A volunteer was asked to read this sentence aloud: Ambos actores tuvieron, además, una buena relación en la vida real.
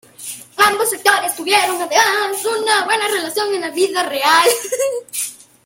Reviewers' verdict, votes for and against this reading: accepted, 2, 0